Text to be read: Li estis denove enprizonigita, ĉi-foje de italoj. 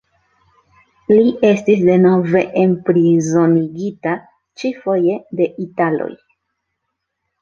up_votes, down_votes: 3, 1